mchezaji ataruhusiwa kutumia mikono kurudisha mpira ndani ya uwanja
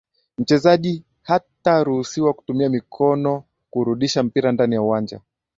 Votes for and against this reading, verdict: 2, 1, accepted